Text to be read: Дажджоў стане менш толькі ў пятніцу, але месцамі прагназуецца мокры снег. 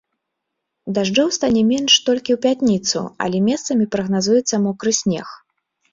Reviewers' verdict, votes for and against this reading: rejected, 1, 2